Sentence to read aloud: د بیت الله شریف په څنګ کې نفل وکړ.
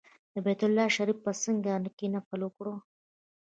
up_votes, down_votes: 2, 0